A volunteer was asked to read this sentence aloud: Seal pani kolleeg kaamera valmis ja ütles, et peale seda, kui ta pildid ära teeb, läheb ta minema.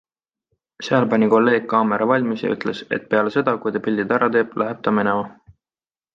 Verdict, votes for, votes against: accepted, 2, 0